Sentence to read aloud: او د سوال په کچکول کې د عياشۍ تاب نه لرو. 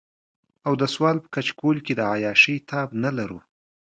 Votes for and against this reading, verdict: 2, 0, accepted